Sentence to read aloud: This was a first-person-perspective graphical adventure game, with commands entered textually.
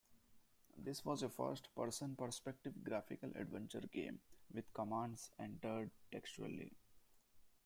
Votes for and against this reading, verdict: 2, 1, accepted